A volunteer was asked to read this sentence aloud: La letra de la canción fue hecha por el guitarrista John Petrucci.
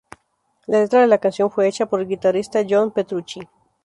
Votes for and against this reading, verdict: 0, 2, rejected